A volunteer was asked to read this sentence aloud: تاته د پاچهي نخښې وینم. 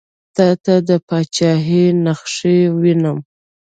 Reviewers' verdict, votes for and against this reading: rejected, 1, 2